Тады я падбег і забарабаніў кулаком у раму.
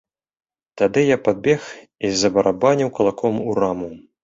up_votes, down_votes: 2, 0